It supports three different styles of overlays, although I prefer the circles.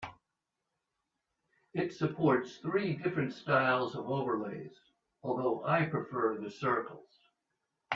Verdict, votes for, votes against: accepted, 2, 0